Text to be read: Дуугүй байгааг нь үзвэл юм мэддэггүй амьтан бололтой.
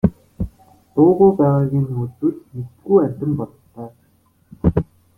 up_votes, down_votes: 0, 2